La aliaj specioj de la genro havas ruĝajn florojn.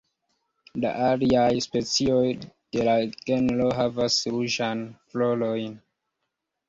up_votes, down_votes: 2, 0